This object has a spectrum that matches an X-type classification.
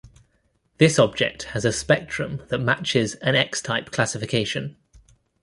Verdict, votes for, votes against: accepted, 2, 0